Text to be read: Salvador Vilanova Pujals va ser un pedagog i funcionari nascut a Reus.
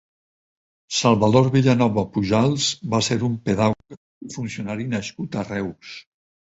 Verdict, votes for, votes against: rejected, 0, 4